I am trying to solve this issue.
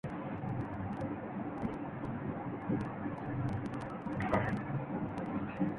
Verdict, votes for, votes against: rejected, 0, 2